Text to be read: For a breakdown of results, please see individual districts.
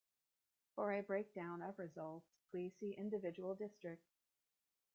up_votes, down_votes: 2, 0